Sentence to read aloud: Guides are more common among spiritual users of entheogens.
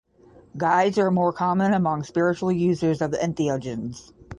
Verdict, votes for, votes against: accepted, 5, 0